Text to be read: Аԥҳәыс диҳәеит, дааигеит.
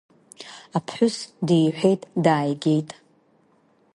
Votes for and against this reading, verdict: 2, 1, accepted